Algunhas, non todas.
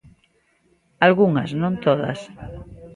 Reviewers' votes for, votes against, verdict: 2, 0, accepted